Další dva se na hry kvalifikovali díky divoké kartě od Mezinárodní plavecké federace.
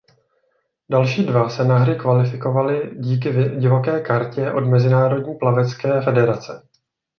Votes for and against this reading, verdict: 0, 2, rejected